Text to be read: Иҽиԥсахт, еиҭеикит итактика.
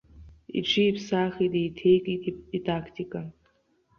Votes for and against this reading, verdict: 0, 2, rejected